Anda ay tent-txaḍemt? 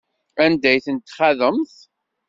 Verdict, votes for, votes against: accepted, 2, 0